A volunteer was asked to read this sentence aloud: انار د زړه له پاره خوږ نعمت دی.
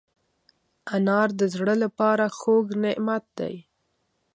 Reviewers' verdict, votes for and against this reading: accepted, 2, 0